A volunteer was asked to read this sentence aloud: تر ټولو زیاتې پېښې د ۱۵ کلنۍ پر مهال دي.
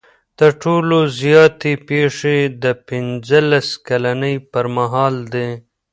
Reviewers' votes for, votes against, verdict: 0, 2, rejected